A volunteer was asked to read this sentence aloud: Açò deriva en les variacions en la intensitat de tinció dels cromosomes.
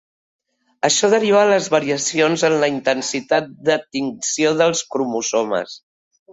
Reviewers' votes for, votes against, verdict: 2, 3, rejected